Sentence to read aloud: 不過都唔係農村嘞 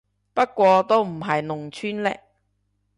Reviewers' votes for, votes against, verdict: 1, 2, rejected